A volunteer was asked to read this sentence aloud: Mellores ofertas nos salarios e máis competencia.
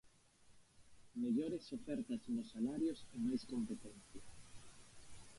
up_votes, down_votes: 0, 2